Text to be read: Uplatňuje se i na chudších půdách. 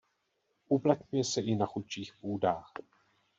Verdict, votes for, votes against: rejected, 0, 2